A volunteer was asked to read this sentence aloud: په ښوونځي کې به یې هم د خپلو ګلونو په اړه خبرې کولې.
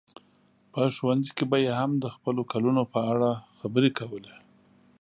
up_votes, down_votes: 1, 2